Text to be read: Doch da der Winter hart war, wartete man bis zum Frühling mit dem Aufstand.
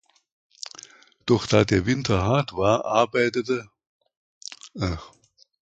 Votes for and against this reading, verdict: 0, 2, rejected